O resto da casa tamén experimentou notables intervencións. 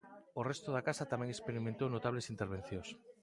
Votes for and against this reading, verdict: 1, 2, rejected